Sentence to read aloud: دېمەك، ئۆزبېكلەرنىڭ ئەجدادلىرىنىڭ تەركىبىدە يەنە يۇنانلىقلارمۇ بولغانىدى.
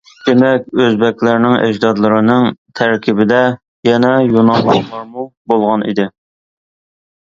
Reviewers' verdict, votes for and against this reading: accepted, 2, 1